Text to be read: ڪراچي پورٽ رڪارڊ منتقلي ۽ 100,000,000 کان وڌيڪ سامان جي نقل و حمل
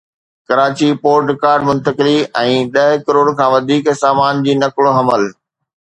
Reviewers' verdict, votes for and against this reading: rejected, 0, 2